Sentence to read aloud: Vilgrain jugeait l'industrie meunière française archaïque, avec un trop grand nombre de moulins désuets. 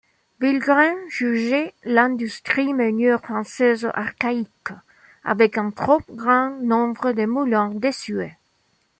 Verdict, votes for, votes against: accepted, 2, 0